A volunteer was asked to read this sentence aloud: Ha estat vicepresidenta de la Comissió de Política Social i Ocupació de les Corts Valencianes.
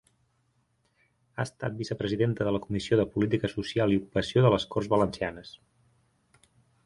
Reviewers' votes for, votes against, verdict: 4, 2, accepted